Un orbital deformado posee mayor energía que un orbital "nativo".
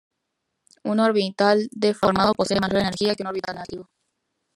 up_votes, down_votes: 1, 2